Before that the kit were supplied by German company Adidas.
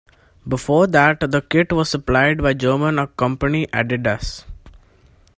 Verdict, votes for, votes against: accepted, 2, 1